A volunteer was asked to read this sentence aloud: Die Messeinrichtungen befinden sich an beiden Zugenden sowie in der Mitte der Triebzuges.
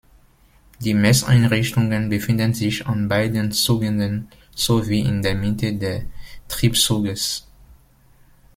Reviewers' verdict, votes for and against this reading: rejected, 1, 2